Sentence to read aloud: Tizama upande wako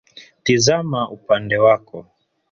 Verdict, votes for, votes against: rejected, 0, 2